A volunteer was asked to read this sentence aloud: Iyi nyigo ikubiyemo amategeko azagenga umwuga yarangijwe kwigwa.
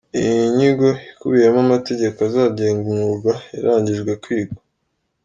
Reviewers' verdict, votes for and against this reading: accepted, 2, 1